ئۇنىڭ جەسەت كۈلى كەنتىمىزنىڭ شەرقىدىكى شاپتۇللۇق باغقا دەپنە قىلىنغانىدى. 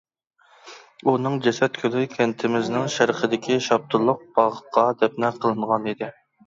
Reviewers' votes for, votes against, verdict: 2, 0, accepted